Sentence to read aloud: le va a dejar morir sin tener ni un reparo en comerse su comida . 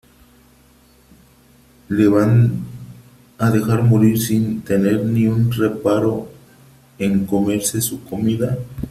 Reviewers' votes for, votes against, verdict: 1, 3, rejected